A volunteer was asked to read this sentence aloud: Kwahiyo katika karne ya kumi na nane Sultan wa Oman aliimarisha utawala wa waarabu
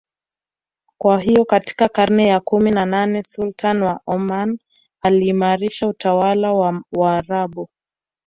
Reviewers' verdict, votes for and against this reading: accepted, 2, 0